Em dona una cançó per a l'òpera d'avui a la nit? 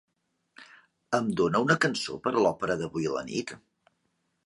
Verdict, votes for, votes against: rejected, 1, 2